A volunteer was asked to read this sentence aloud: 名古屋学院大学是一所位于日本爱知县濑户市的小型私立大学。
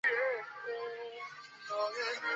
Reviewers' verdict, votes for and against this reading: accepted, 2, 0